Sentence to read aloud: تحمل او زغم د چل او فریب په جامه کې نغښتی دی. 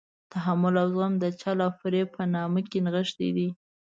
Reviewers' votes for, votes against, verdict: 0, 2, rejected